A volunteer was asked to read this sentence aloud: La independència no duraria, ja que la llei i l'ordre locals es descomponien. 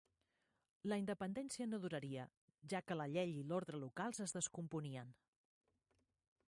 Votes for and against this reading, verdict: 1, 2, rejected